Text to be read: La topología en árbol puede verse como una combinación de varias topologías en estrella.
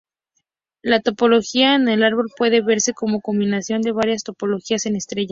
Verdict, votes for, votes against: accepted, 4, 0